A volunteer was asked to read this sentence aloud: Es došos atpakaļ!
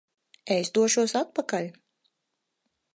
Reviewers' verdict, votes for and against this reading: rejected, 2, 4